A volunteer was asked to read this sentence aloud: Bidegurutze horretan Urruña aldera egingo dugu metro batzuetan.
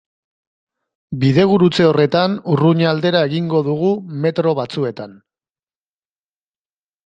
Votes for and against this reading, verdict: 2, 0, accepted